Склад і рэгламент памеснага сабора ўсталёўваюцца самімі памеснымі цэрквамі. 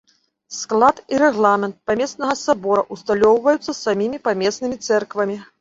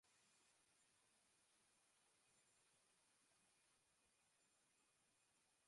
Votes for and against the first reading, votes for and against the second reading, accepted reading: 2, 0, 0, 2, first